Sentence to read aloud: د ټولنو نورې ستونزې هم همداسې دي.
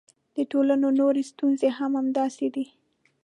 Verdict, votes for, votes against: accepted, 2, 0